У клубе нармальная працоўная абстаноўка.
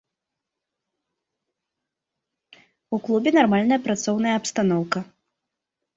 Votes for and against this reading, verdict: 2, 0, accepted